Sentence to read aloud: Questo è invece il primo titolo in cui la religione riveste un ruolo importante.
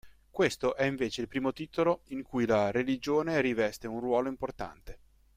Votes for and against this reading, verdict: 2, 0, accepted